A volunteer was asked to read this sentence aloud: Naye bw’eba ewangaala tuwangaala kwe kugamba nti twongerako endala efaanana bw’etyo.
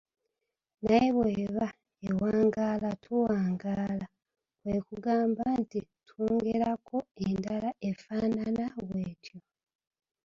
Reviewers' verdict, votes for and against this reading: rejected, 0, 2